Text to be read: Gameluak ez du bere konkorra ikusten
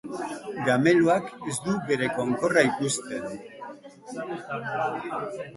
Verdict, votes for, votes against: rejected, 0, 2